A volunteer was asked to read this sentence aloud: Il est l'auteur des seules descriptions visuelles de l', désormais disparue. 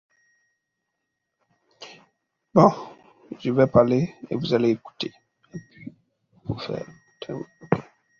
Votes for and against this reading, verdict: 0, 2, rejected